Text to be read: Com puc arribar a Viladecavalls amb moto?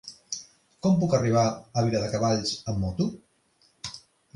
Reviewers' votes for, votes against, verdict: 2, 0, accepted